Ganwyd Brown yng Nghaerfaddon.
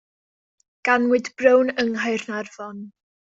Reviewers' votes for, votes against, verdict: 0, 2, rejected